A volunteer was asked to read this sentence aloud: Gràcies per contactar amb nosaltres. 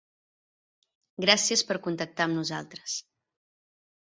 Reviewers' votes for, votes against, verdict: 2, 0, accepted